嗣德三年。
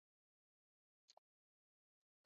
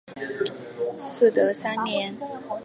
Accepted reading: second